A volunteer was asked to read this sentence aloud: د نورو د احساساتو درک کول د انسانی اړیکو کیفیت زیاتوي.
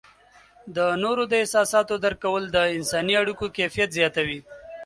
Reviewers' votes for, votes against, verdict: 3, 0, accepted